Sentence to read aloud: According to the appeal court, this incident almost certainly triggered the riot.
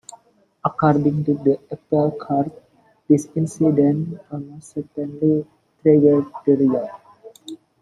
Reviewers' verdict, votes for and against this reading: accepted, 2, 0